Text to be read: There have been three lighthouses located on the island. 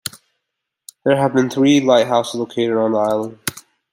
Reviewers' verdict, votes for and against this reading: rejected, 0, 2